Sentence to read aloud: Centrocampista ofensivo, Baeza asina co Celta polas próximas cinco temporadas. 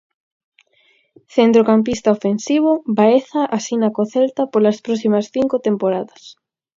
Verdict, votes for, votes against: accepted, 4, 0